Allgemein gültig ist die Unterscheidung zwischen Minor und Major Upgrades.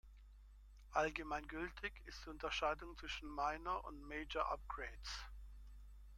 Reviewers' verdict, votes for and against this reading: accepted, 2, 0